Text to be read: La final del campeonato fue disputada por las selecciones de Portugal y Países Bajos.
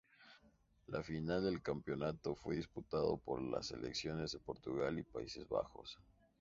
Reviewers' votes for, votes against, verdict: 0, 2, rejected